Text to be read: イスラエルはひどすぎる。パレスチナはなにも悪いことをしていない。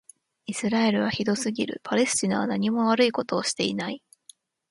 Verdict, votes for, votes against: accepted, 2, 1